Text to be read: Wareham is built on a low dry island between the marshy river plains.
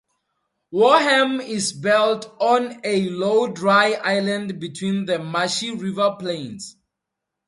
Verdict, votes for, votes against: rejected, 2, 2